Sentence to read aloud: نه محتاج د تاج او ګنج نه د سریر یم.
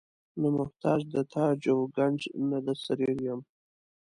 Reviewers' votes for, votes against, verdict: 2, 0, accepted